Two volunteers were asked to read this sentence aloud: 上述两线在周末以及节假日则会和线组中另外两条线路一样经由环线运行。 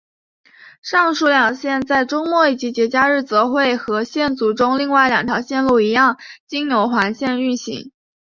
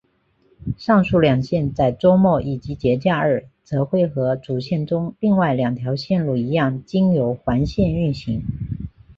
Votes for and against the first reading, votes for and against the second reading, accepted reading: 2, 0, 0, 2, first